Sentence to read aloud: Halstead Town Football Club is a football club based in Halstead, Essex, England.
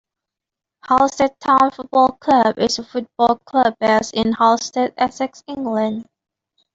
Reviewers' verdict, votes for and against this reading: rejected, 1, 2